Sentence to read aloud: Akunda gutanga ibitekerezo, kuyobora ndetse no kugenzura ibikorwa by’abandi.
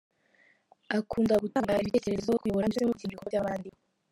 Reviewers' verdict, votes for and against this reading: rejected, 0, 2